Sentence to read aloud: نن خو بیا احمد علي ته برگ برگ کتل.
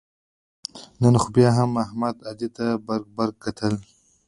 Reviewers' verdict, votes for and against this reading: rejected, 0, 2